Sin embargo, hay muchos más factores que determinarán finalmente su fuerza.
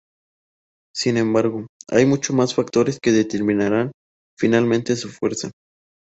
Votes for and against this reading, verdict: 4, 0, accepted